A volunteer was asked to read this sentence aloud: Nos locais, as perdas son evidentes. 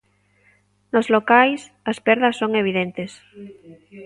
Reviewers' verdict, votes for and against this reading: rejected, 1, 2